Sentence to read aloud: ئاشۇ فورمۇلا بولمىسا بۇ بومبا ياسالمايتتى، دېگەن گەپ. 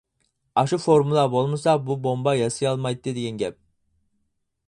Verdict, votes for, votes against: rejected, 0, 4